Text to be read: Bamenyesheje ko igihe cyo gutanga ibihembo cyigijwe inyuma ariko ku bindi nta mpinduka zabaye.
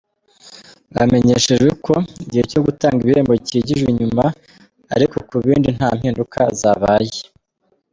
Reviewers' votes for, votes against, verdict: 2, 0, accepted